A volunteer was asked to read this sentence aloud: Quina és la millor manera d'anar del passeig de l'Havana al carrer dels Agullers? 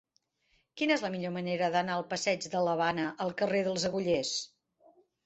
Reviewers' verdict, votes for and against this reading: rejected, 0, 2